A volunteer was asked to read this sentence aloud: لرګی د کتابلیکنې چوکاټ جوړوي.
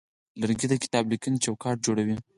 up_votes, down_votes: 2, 4